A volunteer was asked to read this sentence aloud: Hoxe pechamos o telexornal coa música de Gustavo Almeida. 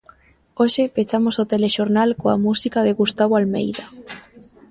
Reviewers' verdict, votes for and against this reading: accepted, 2, 0